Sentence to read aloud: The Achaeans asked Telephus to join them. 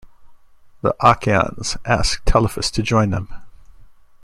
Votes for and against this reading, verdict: 2, 1, accepted